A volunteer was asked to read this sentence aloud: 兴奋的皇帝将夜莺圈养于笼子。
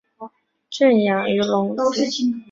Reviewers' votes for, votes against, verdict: 0, 4, rejected